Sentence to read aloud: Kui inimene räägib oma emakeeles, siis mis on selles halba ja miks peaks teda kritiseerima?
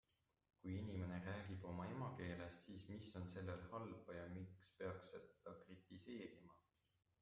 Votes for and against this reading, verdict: 0, 2, rejected